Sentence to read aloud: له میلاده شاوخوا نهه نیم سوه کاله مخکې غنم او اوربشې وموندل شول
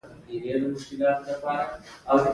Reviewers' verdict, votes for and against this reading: rejected, 1, 2